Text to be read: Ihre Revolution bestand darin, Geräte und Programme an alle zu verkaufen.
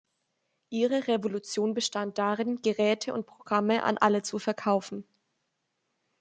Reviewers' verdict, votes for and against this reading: accepted, 2, 0